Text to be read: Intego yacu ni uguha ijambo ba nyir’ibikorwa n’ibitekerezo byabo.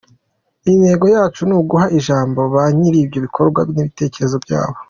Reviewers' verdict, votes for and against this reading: accepted, 2, 1